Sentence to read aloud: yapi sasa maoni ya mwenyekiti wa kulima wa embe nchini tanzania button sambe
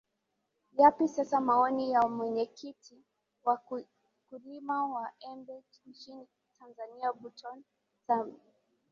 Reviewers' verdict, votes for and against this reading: rejected, 0, 2